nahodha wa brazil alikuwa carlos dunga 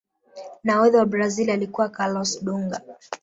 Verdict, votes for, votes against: rejected, 0, 2